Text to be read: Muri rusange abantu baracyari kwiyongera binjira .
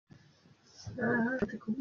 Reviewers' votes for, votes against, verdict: 0, 2, rejected